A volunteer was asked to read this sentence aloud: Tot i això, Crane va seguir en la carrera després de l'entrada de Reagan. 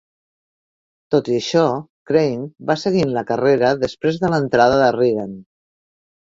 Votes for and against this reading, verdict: 2, 0, accepted